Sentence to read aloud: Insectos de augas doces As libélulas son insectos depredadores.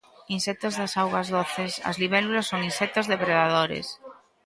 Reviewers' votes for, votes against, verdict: 1, 2, rejected